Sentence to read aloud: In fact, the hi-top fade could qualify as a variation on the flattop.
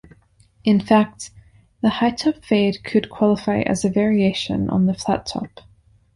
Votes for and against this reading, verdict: 2, 0, accepted